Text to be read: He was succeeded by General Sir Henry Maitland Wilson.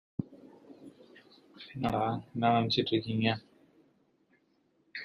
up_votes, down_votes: 0, 2